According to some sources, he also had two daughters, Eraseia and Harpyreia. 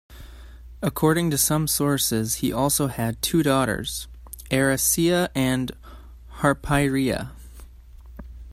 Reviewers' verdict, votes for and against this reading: accepted, 2, 1